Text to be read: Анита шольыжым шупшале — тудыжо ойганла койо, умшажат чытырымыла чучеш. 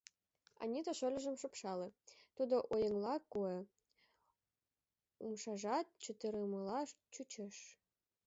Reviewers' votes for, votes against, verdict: 0, 2, rejected